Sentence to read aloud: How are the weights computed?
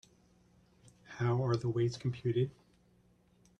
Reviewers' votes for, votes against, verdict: 1, 2, rejected